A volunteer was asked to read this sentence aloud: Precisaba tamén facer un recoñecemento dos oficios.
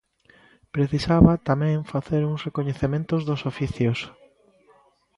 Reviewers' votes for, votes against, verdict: 0, 2, rejected